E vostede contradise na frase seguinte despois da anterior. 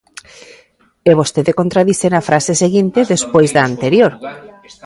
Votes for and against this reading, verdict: 1, 2, rejected